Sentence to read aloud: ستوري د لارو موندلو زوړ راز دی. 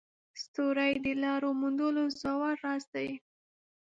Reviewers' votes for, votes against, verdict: 1, 2, rejected